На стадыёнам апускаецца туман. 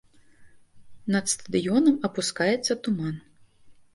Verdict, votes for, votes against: rejected, 1, 2